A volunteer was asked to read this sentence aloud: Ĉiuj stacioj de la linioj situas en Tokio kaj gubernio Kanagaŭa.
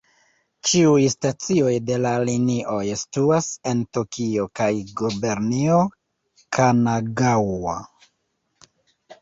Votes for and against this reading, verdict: 1, 2, rejected